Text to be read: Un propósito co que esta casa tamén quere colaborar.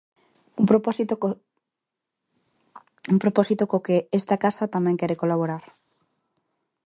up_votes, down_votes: 0, 2